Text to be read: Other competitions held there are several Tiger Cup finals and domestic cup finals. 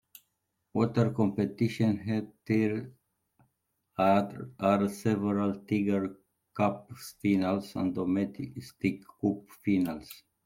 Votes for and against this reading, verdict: 1, 2, rejected